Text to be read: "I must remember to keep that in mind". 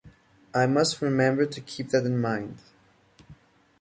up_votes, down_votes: 2, 0